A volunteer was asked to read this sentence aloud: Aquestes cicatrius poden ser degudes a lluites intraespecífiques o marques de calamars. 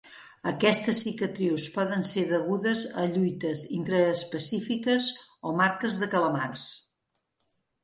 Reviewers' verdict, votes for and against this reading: accepted, 2, 0